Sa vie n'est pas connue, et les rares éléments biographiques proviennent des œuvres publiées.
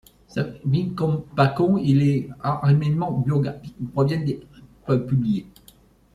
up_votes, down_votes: 0, 2